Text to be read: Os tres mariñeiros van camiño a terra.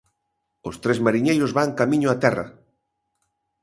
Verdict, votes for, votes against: accepted, 2, 0